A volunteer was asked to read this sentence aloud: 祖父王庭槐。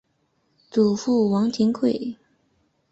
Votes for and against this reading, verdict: 2, 1, accepted